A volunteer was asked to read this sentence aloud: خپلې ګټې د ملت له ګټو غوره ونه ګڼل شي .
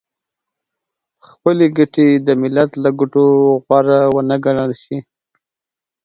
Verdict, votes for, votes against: accepted, 8, 0